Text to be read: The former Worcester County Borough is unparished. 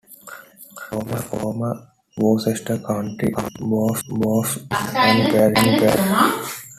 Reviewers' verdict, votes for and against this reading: rejected, 0, 2